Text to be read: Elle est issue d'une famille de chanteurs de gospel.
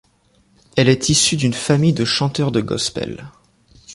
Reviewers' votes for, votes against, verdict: 2, 0, accepted